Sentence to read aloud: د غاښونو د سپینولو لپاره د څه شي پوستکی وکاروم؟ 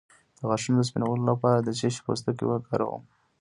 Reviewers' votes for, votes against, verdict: 1, 2, rejected